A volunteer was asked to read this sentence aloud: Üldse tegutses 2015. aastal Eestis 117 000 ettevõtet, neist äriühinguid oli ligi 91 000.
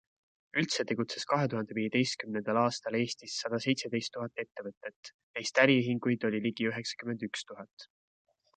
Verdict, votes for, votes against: rejected, 0, 2